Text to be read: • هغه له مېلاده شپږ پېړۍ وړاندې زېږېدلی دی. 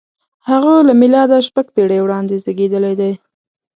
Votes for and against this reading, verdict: 2, 0, accepted